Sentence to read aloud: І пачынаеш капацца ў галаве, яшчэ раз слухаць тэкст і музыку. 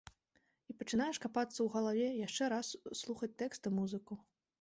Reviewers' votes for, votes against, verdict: 2, 0, accepted